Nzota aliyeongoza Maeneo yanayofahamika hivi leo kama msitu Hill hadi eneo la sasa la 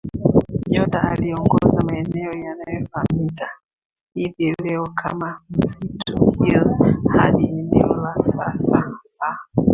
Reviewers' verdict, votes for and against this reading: rejected, 0, 2